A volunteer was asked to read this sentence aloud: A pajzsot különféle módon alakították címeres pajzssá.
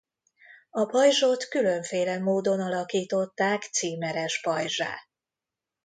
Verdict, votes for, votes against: accepted, 2, 0